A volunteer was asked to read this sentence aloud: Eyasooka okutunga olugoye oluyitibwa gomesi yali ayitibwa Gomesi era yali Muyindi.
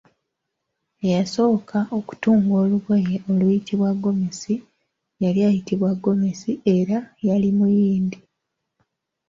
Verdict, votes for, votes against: accepted, 3, 0